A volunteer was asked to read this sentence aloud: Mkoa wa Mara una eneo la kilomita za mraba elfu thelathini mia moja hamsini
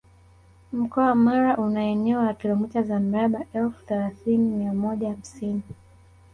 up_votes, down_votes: 1, 2